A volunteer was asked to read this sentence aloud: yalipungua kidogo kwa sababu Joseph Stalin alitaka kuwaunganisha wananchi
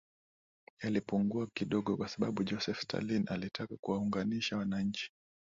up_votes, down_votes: 1, 2